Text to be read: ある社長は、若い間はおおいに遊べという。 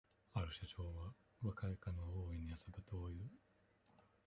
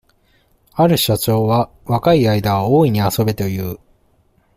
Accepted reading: second